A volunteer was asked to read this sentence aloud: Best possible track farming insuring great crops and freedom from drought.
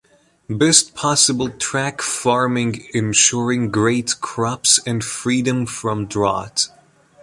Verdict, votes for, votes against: accepted, 2, 0